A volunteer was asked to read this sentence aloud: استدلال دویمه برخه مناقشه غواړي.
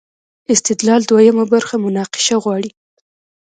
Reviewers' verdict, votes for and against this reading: rejected, 1, 2